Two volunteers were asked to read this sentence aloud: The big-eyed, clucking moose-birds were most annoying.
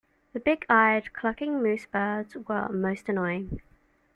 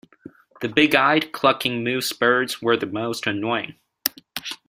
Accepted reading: first